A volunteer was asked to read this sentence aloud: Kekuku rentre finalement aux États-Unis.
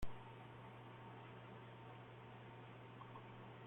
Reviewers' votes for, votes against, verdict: 0, 2, rejected